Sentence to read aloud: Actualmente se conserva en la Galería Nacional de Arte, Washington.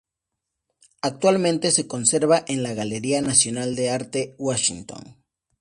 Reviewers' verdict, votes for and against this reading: accepted, 2, 0